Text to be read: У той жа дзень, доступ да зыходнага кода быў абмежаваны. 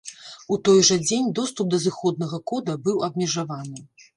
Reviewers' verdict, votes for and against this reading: accepted, 2, 0